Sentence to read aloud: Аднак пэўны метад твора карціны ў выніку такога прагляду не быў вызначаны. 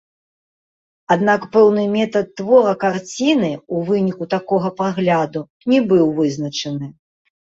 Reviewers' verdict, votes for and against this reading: rejected, 0, 2